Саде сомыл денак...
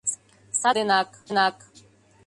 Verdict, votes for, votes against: rejected, 0, 2